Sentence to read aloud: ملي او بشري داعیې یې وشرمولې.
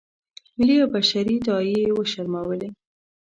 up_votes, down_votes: 2, 0